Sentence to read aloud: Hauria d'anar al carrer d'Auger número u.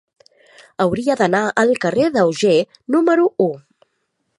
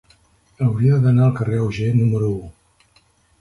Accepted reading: first